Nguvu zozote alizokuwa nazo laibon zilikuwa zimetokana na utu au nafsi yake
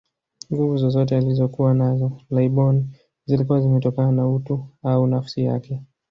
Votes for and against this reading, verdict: 2, 0, accepted